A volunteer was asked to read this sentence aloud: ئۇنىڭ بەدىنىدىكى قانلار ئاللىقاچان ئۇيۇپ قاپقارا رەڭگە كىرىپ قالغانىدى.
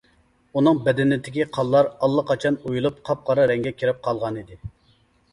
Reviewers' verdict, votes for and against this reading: rejected, 0, 2